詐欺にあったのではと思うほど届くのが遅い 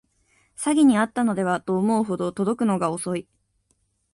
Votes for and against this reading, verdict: 2, 0, accepted